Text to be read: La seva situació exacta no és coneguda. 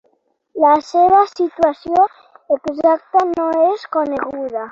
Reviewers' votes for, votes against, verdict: 3, 6, rejected